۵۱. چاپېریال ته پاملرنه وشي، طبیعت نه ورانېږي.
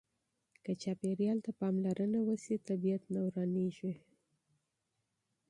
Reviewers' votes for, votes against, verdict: 0, 2, rejected